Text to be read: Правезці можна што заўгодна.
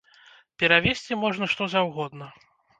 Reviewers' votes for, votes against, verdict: 0, 2, rejected